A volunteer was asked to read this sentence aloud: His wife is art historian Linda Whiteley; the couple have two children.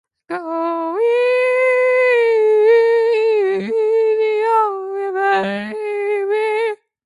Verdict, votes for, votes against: rejected, 0, 2